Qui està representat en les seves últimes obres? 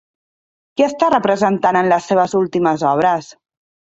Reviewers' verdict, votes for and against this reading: rejected, 1, 2